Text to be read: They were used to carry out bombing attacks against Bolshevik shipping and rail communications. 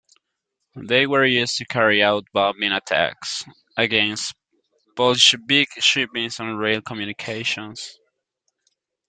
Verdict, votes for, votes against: rejected, 1, 2